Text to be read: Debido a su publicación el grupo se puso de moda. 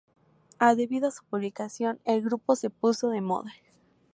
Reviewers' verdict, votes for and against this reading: accepted, 4, 2